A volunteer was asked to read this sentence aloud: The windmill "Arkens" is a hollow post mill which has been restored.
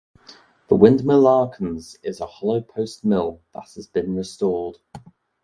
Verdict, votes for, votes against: accepted, 2, 0